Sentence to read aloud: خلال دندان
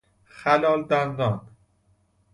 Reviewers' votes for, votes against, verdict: 2, 0, accepted